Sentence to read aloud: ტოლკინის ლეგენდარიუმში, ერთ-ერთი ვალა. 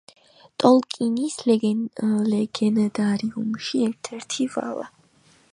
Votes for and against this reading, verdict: 1, 2, rejected